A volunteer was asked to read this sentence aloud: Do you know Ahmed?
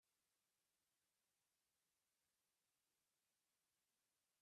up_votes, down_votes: 0, 2